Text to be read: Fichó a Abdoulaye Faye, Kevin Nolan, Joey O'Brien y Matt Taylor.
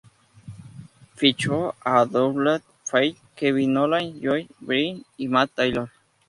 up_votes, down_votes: 0, 2